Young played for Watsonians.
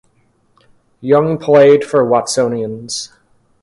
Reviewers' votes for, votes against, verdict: 2, 0, accepted